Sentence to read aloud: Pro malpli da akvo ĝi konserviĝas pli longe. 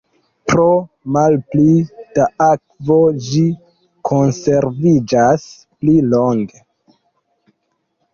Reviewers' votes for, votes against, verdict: 2, 0, accepted